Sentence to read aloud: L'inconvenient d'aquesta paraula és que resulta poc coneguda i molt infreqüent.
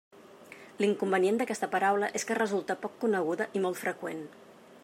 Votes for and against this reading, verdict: 0, 2, rejected